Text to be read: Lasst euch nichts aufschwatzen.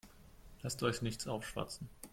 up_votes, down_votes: 2, 0